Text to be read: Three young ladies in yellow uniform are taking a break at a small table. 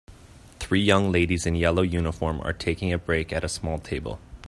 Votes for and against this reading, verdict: 2, 0, accepted